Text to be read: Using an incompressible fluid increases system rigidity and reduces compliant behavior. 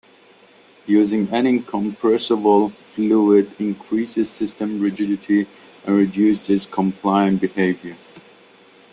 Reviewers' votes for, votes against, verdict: 2, 0, accepted